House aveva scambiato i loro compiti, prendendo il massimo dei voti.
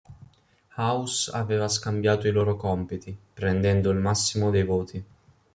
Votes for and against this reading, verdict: 2, 0, accepted